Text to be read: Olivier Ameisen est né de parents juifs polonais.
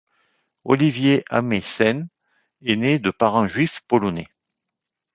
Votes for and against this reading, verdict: 2, 0, accepted